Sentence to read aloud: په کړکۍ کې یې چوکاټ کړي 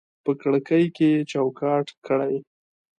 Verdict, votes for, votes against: rejected, 0, 2